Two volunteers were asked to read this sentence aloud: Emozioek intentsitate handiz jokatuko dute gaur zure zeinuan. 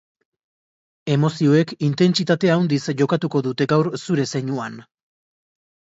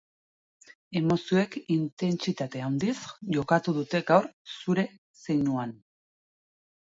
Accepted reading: second